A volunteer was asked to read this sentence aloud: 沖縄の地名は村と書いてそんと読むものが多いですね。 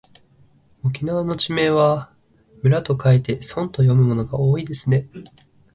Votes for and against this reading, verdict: 3, 0, accepted